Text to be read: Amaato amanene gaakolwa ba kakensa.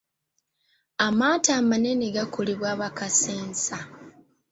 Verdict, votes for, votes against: rejected, 1, 2